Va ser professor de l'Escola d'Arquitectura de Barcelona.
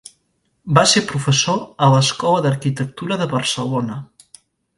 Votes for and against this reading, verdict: 0, 2, rejected